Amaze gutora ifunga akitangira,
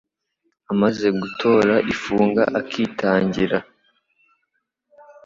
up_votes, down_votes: 2, 0